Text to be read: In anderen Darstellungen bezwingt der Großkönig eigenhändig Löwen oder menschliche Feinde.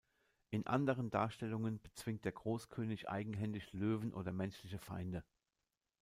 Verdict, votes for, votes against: rejected, 1, 2